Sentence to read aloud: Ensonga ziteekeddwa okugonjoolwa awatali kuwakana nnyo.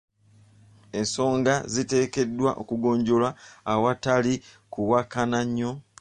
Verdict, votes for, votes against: rejected, 1, 2